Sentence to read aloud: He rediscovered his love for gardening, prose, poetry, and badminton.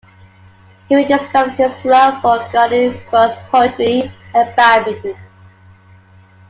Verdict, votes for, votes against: rejected, 0, 2